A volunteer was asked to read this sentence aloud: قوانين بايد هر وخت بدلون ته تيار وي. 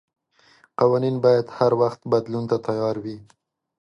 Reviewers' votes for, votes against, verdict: 2, 0, accepted